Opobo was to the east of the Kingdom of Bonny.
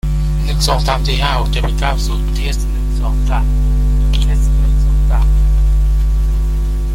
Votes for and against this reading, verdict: 0, 2, rejected